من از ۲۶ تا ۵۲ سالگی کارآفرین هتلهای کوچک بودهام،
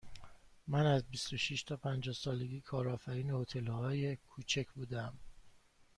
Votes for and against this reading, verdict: 0, 2, rejected